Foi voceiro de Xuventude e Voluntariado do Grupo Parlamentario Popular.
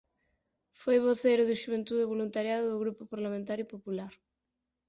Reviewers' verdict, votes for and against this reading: accepted, 4, 0